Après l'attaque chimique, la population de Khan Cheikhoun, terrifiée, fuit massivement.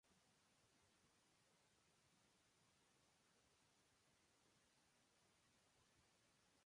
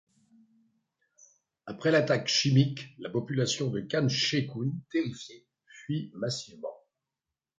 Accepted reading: second